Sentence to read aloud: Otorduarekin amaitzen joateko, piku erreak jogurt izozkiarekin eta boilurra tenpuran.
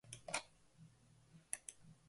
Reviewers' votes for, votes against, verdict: 0, 2, rejected